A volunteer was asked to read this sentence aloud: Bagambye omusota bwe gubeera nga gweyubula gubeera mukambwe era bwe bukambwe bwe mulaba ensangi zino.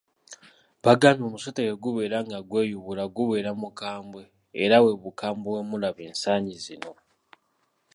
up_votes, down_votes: 3, 0